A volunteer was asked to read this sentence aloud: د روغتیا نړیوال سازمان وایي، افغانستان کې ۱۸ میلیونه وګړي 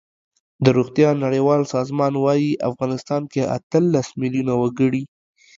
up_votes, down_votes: 0, 2